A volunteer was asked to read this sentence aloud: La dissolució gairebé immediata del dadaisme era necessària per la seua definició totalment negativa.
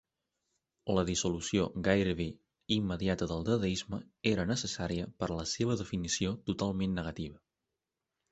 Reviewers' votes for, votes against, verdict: 1, 3, rejected